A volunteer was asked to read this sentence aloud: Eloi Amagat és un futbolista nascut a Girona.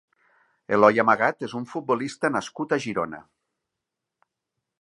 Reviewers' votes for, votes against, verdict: 2, 0, accepted